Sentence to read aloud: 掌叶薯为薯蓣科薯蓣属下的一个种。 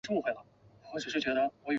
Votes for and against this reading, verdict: 3, 4, rejected